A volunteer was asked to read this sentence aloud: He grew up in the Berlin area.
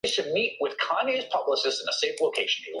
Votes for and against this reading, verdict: 1, 2, rejected